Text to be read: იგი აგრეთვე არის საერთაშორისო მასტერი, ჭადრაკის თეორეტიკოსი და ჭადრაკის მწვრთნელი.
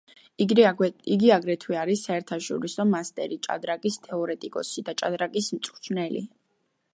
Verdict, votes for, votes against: accepted, 2, 0